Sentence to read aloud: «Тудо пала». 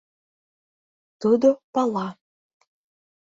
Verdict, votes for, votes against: accepted, 2, 0